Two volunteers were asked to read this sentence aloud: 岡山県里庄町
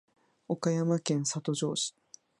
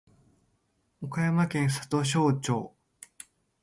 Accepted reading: second